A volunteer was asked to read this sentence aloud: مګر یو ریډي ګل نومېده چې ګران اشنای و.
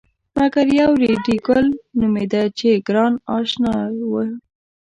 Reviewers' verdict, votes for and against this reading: rejected, 1, 2